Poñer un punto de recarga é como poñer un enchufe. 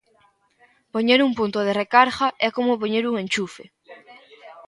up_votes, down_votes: 0, 2